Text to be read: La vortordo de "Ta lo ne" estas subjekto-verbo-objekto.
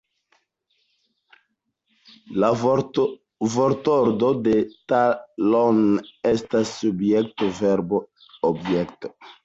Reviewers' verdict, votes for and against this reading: rejected, 0, 2